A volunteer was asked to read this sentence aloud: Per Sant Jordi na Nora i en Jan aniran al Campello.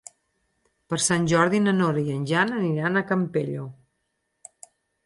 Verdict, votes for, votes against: rejected, 0, 4